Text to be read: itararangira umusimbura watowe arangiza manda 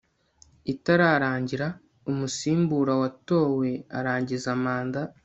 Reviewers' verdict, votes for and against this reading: accepted, 2, 0